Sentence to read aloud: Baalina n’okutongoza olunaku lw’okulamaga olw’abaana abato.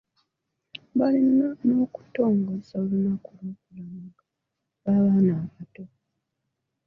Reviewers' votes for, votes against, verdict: 1, 2, rejected